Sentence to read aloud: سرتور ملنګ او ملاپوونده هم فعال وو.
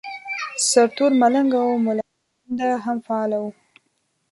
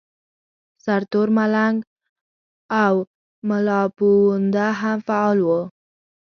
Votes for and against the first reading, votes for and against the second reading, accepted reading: 1, 2, 2, 0, second